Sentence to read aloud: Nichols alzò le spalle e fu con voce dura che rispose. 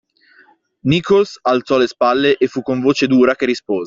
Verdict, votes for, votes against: rejected, 0, 2